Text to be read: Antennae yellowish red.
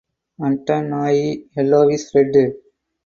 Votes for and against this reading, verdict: 0, 2, rejected